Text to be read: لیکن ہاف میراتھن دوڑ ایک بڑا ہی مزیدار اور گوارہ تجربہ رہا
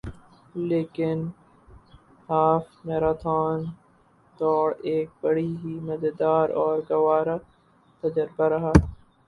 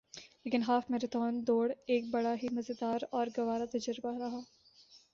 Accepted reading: second